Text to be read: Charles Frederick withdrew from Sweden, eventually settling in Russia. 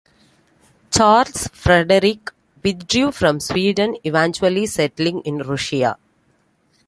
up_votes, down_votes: 2, 0